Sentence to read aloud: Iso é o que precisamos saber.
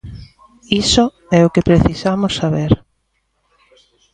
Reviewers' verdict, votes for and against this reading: accepted, 2, 0